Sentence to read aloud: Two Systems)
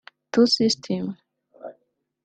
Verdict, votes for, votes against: rejected, 0, 2